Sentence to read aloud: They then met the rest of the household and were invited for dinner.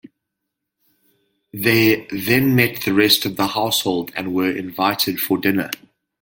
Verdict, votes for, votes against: accepted, 2, 0